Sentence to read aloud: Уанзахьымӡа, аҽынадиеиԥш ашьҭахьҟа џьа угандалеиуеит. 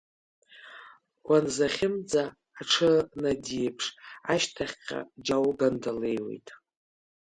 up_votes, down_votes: 2, 0